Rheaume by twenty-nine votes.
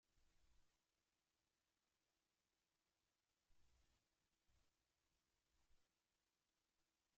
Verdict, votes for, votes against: rejected, 0, 2